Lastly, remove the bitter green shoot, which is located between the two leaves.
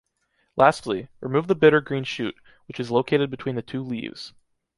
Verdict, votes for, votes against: accepted, 2, 0